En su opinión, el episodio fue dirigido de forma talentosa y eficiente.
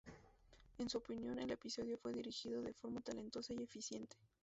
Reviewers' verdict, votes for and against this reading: rejected, 0, 2